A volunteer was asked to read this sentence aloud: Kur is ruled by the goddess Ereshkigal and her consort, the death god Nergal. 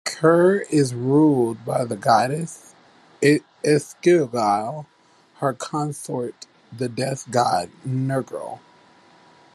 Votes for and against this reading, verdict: 2, 1, accepted